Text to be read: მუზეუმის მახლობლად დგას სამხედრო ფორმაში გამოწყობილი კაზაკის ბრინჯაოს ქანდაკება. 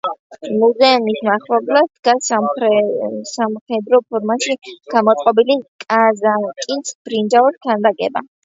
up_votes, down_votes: 0, 2